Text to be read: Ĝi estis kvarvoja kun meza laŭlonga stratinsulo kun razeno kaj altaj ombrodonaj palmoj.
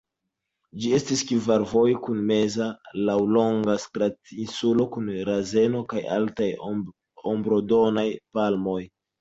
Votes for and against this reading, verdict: 2, 0, accepted